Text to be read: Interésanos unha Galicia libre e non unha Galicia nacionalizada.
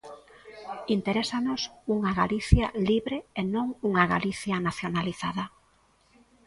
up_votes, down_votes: 1, 2